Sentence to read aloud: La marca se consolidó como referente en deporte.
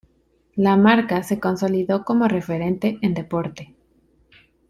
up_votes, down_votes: 2, 0